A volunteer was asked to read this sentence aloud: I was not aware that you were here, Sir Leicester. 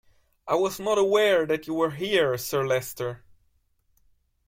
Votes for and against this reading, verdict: 2, 1, accepted